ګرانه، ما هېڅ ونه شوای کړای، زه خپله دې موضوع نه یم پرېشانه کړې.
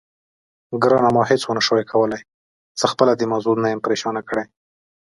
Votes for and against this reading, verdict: 2, 0, accepted